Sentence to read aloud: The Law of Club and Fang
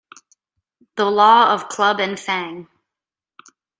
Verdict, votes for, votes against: accepted, 2, 0